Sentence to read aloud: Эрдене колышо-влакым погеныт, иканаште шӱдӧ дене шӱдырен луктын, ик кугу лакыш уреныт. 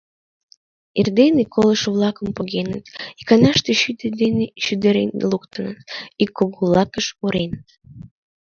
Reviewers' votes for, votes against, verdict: 1, 2, rejected